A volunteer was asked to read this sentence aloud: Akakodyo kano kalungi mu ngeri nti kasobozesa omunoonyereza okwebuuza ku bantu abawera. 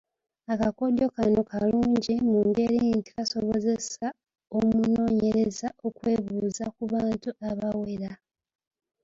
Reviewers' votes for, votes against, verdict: 0, 2, rejected